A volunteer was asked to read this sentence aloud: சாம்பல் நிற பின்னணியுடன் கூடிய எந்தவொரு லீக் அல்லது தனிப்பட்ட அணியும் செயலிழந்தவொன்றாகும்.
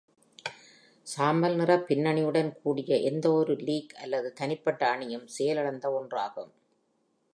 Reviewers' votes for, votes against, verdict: 2, 0, accepted